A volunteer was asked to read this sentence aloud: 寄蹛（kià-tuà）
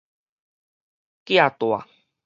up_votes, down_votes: 4, 0